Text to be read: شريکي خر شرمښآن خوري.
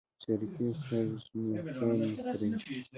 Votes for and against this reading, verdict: 1, 2, rejected